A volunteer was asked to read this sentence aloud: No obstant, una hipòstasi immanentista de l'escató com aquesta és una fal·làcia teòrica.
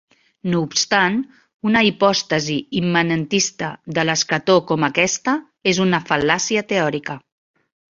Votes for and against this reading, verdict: 2, 0, accepted